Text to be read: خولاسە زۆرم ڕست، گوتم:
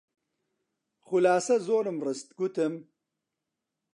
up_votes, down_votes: 2, 0